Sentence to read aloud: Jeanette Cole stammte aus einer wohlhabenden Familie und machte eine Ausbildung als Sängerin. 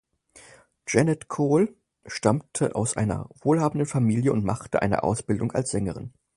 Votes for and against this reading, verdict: 4, 0, accepted